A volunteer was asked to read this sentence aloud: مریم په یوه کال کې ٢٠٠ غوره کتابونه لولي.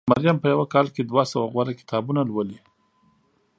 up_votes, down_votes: 0, 2